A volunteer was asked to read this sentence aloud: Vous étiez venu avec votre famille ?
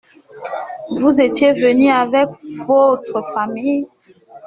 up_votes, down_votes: 2, 0